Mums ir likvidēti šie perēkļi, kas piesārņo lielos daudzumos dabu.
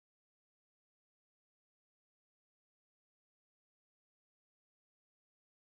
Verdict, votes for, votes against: rejected, 0, 2